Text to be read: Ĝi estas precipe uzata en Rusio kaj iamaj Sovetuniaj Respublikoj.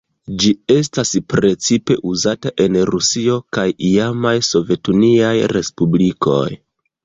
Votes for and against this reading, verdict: 1, 2, rejected